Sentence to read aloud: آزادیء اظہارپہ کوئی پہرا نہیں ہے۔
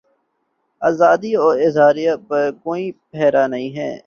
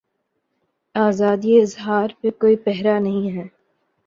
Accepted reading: second